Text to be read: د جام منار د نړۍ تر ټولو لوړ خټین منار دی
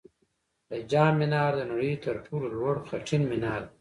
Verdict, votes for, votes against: accepted, 3, 2